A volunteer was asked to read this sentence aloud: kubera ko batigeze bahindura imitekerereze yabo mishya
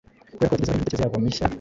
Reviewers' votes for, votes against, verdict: 1, 2, rejected